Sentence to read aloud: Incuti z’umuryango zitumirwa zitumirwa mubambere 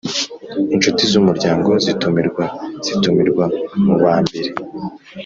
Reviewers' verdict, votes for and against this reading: accepted, 2, 0